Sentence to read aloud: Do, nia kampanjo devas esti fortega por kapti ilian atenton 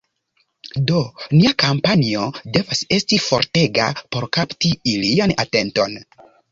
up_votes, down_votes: 2, 0